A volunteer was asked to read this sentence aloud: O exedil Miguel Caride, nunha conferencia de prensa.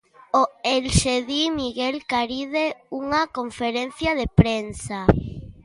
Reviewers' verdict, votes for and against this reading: rejected, 0, 2